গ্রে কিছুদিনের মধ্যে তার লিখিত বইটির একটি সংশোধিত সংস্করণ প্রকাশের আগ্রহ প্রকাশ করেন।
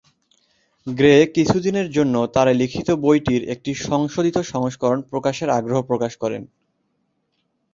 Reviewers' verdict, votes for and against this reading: accepted, 2, 0